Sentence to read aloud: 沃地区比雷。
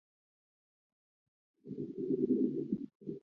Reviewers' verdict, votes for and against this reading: accepted, 3, 2